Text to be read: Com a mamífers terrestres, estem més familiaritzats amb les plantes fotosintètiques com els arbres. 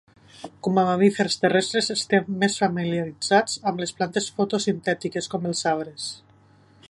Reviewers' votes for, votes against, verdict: 2, 0, accepted